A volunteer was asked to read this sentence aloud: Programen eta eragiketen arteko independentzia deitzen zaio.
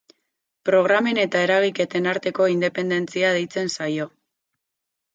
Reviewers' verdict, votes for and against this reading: rejected, 0, 2